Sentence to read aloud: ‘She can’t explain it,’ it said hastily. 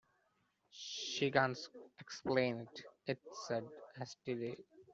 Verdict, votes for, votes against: accepted, 2, 0